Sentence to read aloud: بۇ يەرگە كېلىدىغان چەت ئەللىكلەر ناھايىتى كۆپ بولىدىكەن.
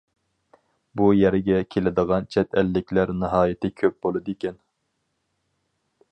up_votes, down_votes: 4, 0